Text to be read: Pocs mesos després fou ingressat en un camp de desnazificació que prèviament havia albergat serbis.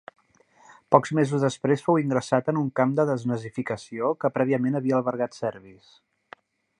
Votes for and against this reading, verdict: 3, 0, accepted